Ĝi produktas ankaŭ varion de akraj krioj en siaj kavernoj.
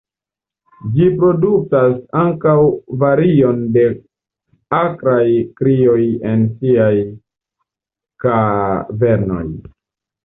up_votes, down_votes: 2, 0